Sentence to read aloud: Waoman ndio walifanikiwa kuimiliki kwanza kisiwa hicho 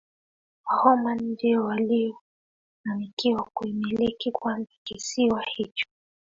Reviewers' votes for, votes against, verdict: 2, 1, accepted